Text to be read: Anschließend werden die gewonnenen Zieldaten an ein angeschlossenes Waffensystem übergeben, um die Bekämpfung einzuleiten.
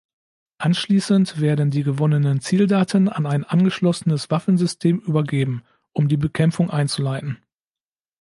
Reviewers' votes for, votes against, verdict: 2, 0, accepted